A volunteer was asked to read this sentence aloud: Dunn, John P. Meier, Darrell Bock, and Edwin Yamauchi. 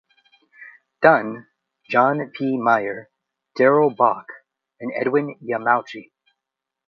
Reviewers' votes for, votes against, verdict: 2, 0, accepted